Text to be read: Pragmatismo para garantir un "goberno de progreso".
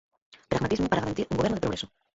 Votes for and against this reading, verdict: 2, 4, rejected